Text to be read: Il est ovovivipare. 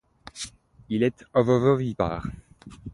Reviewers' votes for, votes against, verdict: 1, 2, rejected